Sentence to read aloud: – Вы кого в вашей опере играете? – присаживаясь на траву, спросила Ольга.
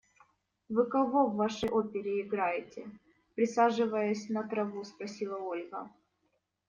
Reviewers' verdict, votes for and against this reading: accepted, 2, 0